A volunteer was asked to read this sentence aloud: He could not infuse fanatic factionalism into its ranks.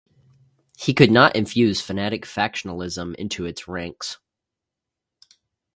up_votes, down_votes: 0, 2